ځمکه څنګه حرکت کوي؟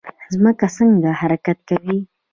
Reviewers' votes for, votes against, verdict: 2, 0, accepted